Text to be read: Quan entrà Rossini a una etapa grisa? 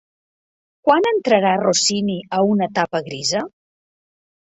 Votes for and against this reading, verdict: 1, 2, rejected